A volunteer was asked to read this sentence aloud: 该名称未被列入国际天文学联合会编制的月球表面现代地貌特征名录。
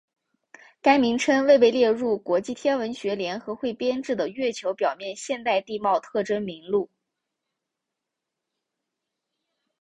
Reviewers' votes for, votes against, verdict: 3, 0, accepted